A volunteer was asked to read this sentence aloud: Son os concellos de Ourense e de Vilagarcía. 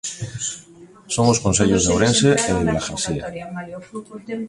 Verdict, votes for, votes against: rejected, 1, 2